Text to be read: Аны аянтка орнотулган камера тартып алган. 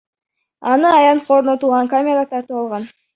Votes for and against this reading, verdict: 0, 2, rejected